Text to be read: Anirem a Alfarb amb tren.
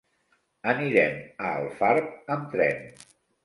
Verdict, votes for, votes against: accepted, 2, 0